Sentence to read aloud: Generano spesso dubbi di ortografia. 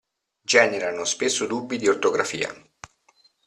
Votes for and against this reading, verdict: 2, 0, accepted